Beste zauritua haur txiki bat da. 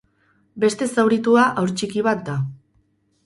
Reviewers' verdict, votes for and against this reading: rejected, 0, 2